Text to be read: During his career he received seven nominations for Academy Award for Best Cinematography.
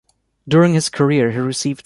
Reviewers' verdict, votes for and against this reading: rejected, 0, 2